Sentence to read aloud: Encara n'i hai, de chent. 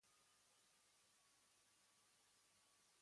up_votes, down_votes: 1, 2